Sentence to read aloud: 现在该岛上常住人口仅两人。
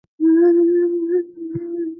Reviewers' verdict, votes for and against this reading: accepted, 2, 0